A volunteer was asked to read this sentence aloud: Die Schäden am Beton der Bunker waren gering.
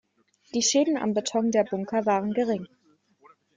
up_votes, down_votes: 2, 0